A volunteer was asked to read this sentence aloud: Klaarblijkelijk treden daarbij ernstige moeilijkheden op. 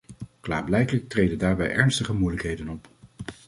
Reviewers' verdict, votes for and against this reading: accepted, 2, 0